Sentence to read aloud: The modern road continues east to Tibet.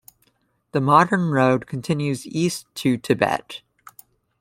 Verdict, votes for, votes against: accepted, 2, 0